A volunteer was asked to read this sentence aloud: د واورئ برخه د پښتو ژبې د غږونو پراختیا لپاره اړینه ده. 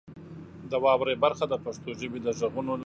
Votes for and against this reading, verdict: 0, 2, rejected